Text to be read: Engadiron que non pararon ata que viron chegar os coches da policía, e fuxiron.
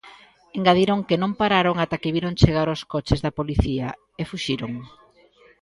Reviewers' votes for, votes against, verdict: 2, 0, accepted